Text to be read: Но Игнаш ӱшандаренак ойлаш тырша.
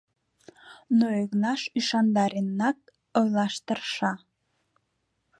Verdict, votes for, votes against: accepted, 3, 0